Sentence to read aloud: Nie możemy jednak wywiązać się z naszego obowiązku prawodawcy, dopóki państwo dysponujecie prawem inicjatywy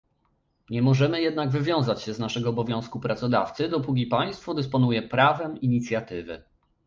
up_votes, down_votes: 0, 2